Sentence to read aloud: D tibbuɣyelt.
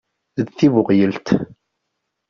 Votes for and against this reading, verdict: 1, 2, rejected